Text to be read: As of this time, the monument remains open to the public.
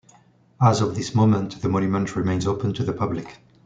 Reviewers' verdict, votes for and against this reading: rejected, 0, 2